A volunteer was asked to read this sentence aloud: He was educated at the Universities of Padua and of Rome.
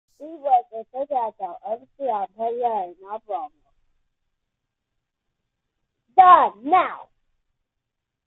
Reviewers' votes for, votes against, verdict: 0, 2, rejected